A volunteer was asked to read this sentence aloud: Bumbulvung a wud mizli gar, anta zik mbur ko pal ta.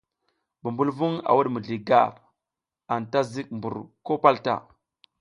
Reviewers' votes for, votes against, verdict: 2, 0, accepted